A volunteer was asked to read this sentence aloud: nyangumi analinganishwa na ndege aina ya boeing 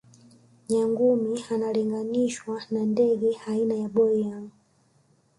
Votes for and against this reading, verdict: 2, 0, accepted